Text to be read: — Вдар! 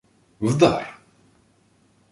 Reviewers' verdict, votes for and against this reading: accepted, 2, 0